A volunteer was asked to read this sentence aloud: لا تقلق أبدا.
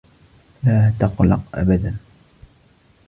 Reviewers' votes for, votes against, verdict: 2, 0, accepted